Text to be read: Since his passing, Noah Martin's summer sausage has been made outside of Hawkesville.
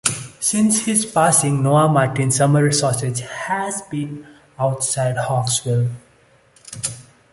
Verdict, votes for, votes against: rejected, 0, 2